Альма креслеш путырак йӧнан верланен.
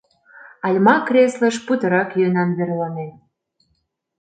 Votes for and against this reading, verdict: 1, 2, rejected